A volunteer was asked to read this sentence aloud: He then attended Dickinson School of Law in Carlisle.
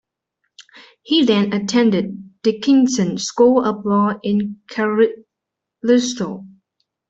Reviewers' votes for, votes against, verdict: 0, 2, rejected